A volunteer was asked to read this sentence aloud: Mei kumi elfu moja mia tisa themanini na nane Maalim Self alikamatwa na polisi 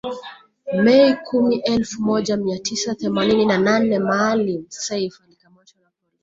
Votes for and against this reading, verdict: 0, 2, rejected